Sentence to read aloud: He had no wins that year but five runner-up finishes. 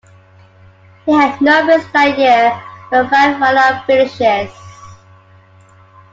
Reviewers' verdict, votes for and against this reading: rejected, 0, 2